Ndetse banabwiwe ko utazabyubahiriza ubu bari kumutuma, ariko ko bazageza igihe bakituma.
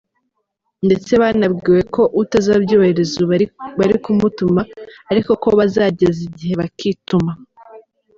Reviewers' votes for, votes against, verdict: 0, 3, rejected